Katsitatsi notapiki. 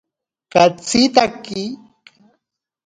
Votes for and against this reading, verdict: 0, 2, rejected